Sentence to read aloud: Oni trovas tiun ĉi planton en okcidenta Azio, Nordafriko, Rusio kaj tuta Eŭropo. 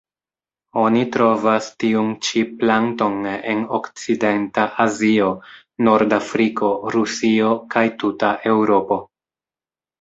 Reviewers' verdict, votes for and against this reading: rejected, 1, 2